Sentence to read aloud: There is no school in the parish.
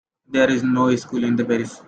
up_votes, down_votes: 0, 2